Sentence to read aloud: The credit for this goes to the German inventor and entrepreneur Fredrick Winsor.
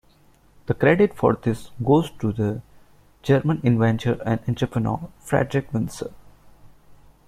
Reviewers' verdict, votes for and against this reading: accepted, 2, 1